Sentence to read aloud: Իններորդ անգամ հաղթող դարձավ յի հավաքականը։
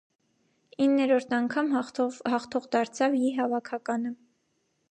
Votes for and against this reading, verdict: 0, 2, rejected